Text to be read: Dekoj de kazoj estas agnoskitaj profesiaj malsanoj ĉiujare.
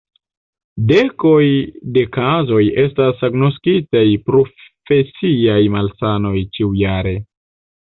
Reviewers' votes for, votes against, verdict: 0, 2, rejected